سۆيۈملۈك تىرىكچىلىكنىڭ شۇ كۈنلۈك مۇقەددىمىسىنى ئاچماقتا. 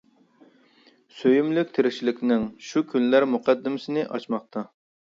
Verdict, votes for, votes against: rejected, 1, 2